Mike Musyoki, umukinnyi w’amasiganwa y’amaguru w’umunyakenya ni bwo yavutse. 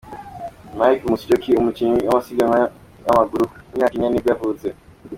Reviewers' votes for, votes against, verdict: 2, 1, accepted